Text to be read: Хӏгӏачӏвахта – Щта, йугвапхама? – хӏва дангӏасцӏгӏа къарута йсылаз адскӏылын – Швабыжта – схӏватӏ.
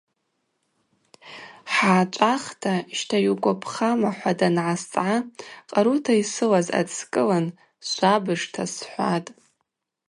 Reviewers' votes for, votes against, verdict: 2, 0, accepted